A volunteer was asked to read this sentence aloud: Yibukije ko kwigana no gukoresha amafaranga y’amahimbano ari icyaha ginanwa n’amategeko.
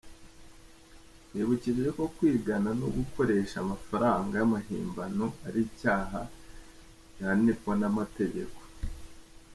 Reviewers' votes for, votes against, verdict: 1, 2, rejected